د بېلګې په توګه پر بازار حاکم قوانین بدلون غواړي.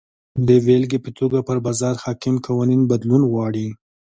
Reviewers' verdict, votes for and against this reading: accepted, 2, 0